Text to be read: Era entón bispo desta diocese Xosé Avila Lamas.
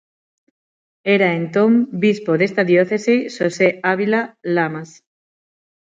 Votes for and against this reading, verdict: 6, 0, accepted